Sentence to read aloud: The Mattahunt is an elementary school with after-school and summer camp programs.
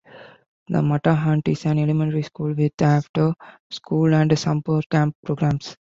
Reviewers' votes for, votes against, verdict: 1, 2, rejected